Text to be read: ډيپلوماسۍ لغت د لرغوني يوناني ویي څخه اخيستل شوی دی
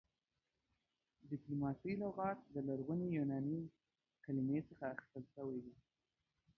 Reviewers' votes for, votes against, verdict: 1, 2, rejected